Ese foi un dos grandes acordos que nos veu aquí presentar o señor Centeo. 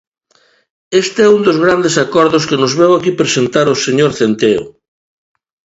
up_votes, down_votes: 1, 2